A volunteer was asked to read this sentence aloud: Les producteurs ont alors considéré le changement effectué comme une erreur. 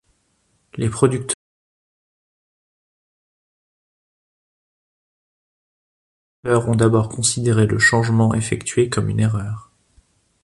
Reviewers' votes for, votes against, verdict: 0, 2, rejected